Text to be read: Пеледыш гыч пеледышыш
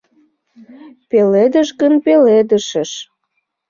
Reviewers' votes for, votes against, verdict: 0, 2, rejected